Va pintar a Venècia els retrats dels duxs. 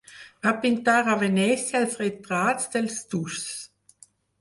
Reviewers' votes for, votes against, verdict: 2, 4, rejected